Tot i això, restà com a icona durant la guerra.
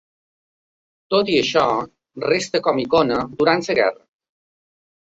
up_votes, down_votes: 1, 2